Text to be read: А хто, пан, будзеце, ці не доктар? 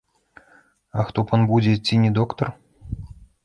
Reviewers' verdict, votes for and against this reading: rejected, 0, 2